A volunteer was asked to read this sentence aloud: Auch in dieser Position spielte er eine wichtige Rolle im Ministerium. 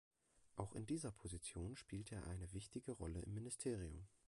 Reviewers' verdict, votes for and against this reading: rejected, 1, 2